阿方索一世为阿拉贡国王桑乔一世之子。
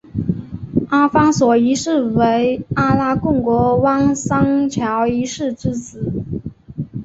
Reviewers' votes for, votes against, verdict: 2, 0, accepted